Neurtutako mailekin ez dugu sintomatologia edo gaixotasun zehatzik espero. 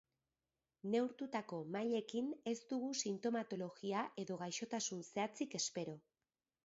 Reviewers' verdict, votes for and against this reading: accepted, 2, 0